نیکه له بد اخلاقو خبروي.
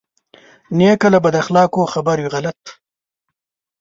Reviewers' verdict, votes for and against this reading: rejected, 0, 2